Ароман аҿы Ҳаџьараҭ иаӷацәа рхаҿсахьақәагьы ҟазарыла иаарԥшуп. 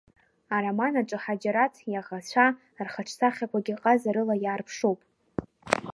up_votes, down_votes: 2, 0